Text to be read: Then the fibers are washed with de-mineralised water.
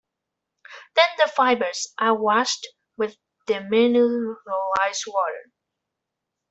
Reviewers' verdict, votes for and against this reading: rejected, 0, 2